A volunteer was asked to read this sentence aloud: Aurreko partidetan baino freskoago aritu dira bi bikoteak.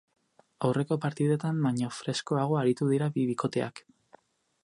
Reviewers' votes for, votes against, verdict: 2, 2, rejected